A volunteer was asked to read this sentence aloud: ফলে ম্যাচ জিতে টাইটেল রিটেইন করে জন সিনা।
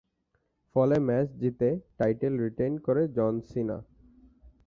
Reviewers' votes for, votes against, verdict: 10, 2, accepted